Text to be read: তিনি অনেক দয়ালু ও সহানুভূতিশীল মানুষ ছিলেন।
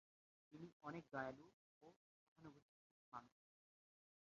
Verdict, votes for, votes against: rejected, 0, 2